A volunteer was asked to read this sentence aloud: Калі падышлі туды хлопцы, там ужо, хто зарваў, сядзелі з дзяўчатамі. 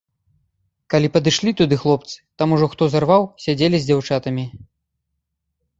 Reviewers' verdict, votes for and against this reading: accepted, 2, 0